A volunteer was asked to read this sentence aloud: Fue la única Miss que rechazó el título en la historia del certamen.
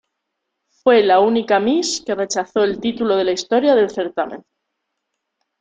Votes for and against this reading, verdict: 1, 2, rejected